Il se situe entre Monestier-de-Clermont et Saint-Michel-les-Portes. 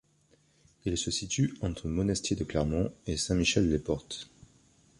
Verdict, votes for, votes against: accepted, 3, 0